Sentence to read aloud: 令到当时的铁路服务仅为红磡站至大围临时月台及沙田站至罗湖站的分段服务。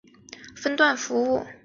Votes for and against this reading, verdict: 1, 3, rejected